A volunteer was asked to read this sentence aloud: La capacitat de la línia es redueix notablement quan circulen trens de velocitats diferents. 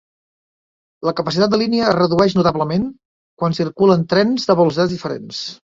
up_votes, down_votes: 0, 3